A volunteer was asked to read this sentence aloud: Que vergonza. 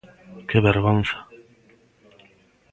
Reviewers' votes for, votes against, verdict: 2, 0, accepted